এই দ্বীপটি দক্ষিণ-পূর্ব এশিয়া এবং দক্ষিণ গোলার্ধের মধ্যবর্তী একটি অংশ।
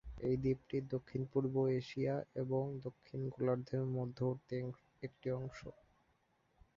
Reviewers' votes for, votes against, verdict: 4, 3, accepted